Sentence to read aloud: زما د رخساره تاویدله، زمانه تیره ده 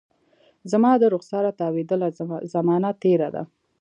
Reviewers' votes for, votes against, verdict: 1, 2, rejected